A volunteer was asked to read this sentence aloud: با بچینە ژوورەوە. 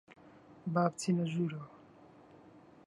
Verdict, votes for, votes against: rejected, 1, 2